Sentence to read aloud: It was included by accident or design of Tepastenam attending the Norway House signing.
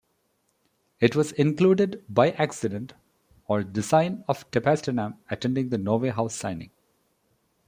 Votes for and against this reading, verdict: 1, 2, rejected